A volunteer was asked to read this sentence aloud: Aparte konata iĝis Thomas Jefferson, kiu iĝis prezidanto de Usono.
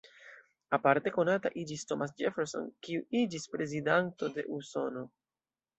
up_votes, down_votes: 2, 0